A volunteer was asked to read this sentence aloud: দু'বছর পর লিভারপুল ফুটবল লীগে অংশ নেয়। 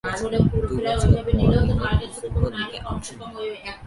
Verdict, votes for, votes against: rejected, 0, 3